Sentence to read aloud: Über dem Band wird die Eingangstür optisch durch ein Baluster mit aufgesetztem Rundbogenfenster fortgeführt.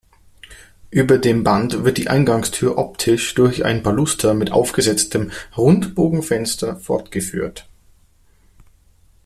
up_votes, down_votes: 3, 0